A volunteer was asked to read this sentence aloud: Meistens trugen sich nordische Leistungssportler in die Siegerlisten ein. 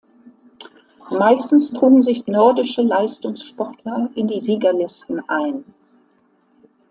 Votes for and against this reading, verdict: 2, 0, accepted